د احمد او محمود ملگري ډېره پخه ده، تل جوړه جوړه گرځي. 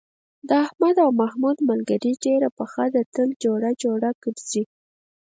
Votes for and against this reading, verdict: 2, 4, rejected